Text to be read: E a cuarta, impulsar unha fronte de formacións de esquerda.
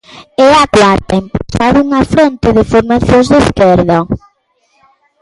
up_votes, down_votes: 0, 2